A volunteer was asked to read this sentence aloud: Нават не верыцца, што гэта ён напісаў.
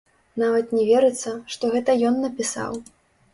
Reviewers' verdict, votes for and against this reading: rejected, 0, 2